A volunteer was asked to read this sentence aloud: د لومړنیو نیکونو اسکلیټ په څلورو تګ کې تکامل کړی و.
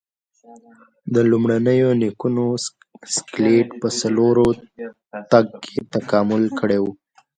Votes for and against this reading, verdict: 2, 0, accepted